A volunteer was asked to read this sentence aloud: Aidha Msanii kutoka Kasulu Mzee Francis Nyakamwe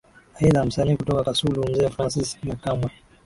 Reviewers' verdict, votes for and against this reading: accepted, 7, 1